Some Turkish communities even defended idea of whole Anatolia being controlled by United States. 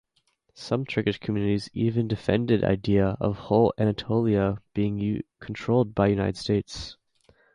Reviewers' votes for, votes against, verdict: 2, 4, rejected